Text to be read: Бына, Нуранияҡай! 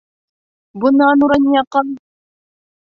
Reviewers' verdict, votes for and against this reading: rejected, 0, 2